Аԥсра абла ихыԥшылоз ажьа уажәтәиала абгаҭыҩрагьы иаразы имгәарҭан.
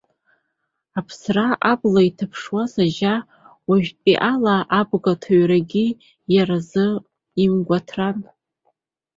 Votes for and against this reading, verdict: 0, 2, rejected